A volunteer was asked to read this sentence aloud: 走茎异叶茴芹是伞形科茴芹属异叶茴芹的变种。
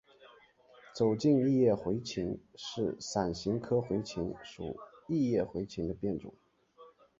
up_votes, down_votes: 2, 0